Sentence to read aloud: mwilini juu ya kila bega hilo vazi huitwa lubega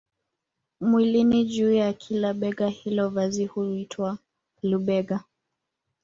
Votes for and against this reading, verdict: 0, 2, rejected